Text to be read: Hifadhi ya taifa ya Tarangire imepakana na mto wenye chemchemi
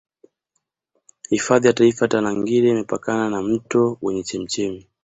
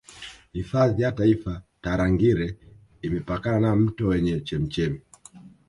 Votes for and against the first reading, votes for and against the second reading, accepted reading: 2, 1, 1, 2, first